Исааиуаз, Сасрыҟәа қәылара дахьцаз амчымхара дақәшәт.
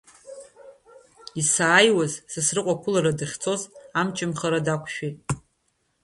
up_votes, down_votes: 1, 2